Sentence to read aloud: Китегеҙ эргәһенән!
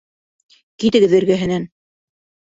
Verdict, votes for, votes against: accepted, 2, 0